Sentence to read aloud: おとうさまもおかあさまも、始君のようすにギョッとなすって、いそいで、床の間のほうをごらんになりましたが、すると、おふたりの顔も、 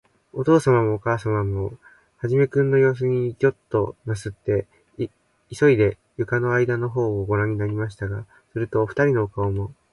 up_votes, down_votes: 0, 2